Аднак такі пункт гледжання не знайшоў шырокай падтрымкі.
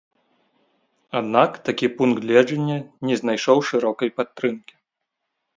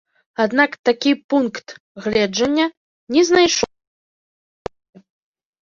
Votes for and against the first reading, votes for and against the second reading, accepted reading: 2, 0, 1, 2, first